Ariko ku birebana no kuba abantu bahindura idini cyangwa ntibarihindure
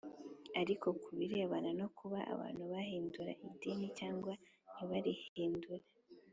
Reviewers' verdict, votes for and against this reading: accepted, 4, 1